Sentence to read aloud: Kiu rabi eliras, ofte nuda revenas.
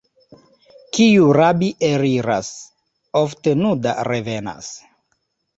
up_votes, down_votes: 2, 0